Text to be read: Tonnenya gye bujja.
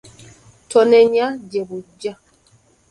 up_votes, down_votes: 1, 3